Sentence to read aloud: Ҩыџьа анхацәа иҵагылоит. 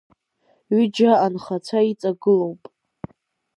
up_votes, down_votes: 2, 4